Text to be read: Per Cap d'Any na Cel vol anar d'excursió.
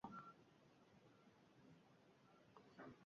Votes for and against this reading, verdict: 1, 4, rejected